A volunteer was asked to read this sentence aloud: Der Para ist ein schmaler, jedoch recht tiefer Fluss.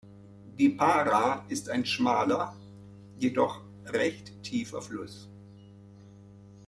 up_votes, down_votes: 1, 2